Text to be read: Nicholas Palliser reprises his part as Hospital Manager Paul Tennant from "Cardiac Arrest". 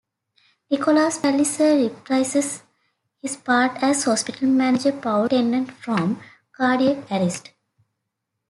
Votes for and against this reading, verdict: 1, 2, rejected